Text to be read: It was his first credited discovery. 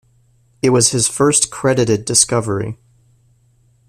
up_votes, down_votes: 2, 0